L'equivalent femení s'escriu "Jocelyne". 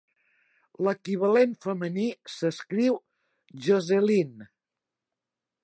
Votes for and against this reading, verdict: 2, 0, accepted